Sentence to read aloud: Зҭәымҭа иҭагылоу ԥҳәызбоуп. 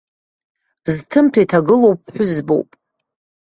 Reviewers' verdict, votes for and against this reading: accepted, 2, 0